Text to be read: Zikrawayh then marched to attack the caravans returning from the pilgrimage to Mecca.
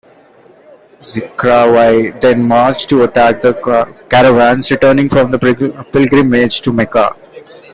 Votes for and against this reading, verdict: 0, 2, rejected